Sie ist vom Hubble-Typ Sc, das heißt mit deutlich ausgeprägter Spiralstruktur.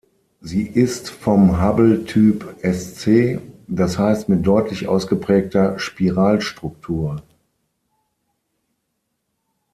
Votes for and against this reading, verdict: 6, 3, accepted